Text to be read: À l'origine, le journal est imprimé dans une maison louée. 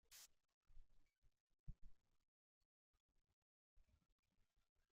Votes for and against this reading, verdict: 0, 2, rejected